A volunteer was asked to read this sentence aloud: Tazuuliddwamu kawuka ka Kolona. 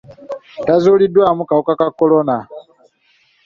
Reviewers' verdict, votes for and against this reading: accepted, 2, 0